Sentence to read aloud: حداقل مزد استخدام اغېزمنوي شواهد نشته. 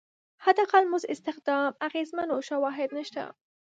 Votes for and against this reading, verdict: 1, 2, rejected